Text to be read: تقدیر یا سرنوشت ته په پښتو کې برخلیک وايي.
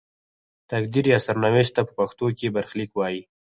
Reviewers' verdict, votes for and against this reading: rejected, 2, 4